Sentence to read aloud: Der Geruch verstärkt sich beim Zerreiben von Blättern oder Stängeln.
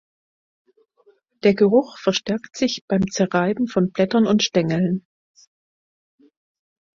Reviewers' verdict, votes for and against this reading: rejected, 2, 4